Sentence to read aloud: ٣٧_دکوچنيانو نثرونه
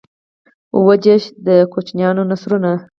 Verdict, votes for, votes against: rejected, 0, 2